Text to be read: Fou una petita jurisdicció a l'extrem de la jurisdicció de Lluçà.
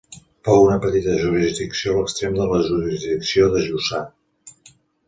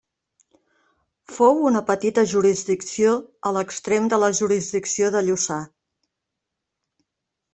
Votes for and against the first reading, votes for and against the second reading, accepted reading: 0, 2, 3, 0, second